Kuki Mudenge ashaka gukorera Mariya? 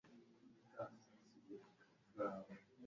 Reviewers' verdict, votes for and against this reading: rejected, 1, 2